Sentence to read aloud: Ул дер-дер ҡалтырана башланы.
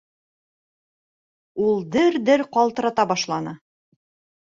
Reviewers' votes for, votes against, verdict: 0, 2, rejected